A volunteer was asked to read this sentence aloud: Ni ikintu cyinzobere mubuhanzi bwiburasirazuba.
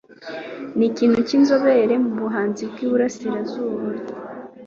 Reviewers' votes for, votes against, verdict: 3, 0, accepted